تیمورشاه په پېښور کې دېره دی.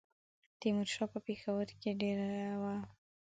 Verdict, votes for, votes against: accepted, 2, 1